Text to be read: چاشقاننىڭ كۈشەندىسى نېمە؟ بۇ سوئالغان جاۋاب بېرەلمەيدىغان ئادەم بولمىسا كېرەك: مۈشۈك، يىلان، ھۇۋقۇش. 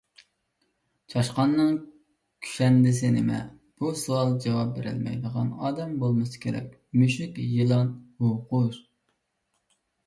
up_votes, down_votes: 2, 1